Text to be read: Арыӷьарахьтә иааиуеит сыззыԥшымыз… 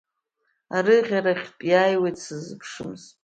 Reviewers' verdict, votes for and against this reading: accepted, 2, 1